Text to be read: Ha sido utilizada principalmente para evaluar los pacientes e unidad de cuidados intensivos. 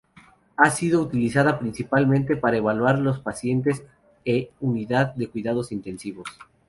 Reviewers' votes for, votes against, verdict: 2, 2, rejected